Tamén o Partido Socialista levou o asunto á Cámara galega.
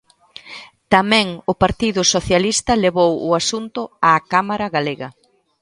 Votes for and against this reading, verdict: 2, 0, accepted